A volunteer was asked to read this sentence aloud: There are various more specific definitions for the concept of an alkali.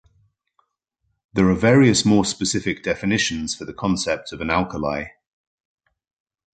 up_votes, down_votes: 2, 0